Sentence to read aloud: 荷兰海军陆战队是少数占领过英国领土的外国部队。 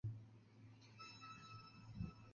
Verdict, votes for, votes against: rejected, 0, 2